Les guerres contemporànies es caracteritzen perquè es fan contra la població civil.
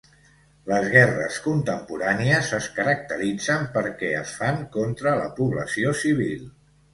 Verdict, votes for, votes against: accepted, 2, 0